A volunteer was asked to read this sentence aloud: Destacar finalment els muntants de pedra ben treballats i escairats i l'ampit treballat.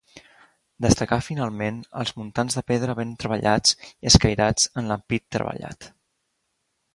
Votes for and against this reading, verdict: 1, 2, rejected